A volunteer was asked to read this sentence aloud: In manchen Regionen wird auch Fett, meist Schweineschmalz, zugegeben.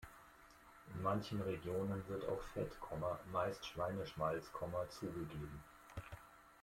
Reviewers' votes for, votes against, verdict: 1, 2, rejected